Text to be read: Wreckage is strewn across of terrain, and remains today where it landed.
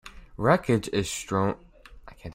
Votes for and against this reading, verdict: 0, 2, rejected